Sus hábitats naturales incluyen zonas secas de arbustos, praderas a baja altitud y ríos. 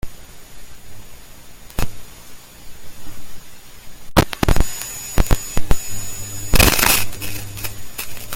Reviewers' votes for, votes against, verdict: 0, 2, rejected